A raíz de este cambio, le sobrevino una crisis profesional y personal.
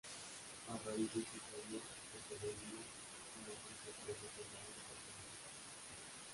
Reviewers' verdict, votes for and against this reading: rejected, 1, 3